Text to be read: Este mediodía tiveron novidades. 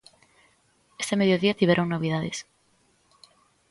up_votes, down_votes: 2, 0